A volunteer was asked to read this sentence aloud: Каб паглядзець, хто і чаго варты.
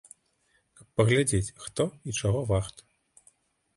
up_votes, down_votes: 1, 2